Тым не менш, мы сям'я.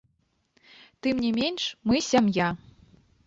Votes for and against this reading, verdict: 0, 2, rejected